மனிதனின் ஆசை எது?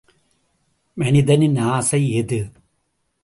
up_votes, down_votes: 2, 0